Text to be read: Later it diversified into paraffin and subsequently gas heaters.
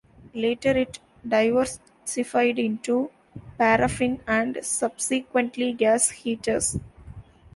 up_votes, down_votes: 0, 2